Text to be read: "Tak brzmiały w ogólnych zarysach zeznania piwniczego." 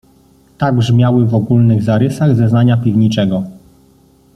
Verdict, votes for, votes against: accepted, 2, 0